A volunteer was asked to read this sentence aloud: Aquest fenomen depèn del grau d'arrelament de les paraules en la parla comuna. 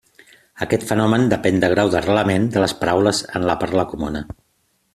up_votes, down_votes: 2, 0